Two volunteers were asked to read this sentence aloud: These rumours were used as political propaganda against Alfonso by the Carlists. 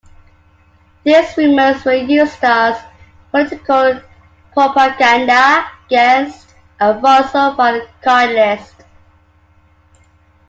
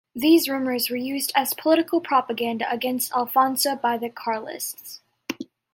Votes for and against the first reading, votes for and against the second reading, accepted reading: 0, 2, 2, 0, second